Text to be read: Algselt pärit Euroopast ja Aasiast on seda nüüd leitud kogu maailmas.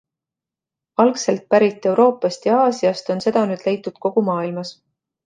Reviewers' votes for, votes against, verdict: 2, 0, accepted